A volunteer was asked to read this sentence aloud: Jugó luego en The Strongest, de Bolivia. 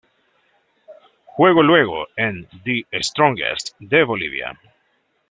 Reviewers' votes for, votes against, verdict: 0, 2, rejected